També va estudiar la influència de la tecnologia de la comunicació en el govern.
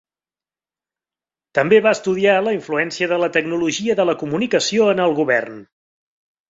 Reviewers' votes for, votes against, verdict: 4, 0, accepted